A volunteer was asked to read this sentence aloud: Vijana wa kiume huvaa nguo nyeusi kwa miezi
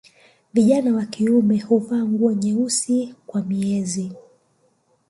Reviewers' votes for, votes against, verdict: 2, 0, accepted